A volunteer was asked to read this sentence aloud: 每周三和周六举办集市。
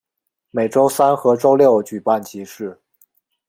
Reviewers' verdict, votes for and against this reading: accepted, 2, 0